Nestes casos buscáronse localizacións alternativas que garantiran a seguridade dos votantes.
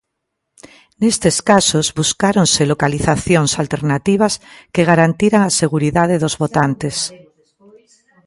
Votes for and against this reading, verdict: 0, 2, rejected